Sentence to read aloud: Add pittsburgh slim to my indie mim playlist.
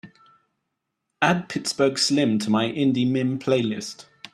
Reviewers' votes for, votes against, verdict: 2, 0, accepted